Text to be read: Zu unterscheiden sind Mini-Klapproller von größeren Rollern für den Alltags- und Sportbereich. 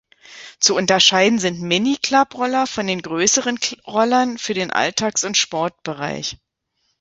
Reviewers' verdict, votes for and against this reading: rejected, 1, 2